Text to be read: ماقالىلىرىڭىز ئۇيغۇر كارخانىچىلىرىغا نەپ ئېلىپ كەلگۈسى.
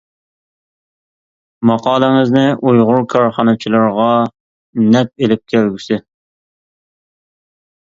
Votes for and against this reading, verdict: 0, 2, rejected